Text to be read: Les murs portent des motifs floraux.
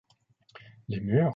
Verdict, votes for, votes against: rejected, 0, 2